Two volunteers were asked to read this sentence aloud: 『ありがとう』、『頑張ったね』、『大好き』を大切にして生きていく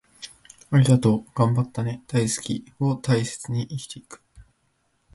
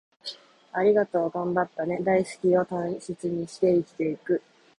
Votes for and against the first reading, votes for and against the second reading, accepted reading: 2, 1, 1, 2, first